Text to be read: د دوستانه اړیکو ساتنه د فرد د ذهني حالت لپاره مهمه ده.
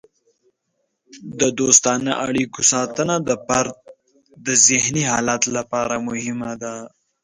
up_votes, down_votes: 2, 0